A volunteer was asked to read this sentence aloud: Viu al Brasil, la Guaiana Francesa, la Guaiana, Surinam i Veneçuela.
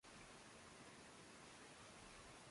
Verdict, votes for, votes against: rejected, 0, 2